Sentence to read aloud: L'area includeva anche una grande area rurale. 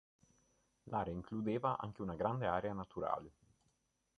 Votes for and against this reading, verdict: 0, 2, rejected